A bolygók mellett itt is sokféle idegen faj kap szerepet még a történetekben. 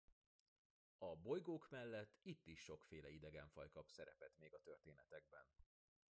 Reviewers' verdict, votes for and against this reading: rejected, 0, 2